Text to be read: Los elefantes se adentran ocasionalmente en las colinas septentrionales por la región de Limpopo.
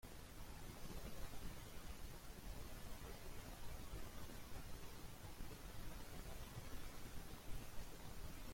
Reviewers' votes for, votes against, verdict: 0, 2, rejected